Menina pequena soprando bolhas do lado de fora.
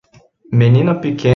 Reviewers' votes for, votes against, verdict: 0, 2, rejected